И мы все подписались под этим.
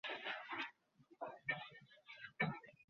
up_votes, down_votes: 0, 2